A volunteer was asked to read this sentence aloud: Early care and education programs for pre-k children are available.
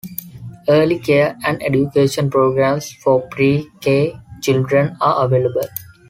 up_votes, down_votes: 2, 0